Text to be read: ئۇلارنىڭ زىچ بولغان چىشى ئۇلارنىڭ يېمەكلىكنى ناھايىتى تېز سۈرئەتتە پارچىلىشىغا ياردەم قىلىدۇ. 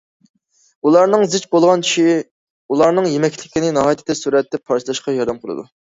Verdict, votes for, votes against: accepted, 2, 1